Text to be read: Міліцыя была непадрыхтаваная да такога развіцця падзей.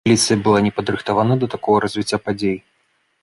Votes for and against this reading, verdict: 1, 2, rejected